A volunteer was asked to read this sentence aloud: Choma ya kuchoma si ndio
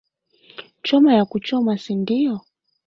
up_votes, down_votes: 2, 1